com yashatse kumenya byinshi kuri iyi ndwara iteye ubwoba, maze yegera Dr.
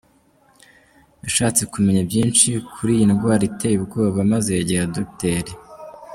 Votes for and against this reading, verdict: 0, 2, rejected